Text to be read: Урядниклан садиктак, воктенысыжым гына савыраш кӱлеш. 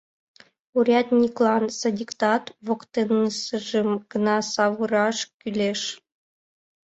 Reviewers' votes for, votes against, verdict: 1, 2, rejected